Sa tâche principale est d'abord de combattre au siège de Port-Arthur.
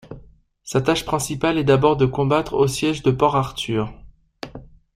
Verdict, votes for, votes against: accepted, 2, 0